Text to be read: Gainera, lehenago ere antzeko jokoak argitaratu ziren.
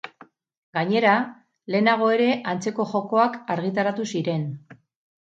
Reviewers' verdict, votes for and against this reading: rejected, 2, 2